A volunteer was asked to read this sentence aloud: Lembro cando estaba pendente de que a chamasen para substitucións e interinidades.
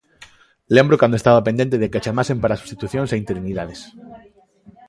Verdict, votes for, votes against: accepted, 2, 0